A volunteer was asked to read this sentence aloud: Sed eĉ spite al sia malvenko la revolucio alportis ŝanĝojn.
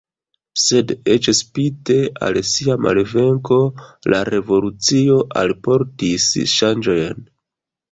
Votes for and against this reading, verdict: 0, 2, rejected